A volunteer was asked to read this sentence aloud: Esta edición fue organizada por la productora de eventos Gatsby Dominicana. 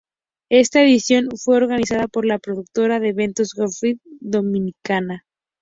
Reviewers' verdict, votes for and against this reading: accepted, 2, 0